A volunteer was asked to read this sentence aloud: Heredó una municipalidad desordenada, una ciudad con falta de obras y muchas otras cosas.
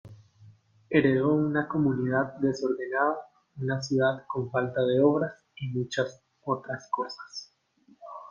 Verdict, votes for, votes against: rejected, 0, 2